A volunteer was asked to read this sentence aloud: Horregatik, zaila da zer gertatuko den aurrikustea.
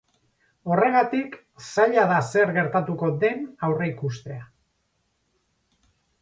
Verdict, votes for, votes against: accepted, 4, 0